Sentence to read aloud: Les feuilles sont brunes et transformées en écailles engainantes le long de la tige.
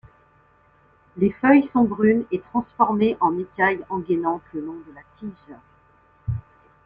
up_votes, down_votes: 2, 0